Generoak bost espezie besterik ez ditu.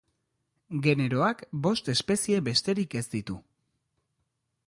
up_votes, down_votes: 2, 0